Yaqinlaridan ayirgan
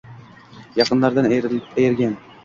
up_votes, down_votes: 0, 2